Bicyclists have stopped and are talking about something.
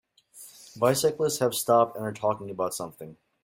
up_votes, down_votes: 4, 0